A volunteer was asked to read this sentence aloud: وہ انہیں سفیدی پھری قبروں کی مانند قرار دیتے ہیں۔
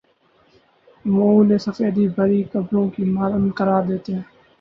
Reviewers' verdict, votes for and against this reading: rejected, 0, 2